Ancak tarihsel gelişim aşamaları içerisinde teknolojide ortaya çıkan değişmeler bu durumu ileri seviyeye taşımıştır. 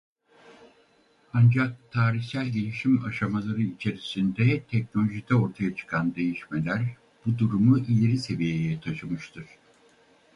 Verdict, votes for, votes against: rejected, 2, 2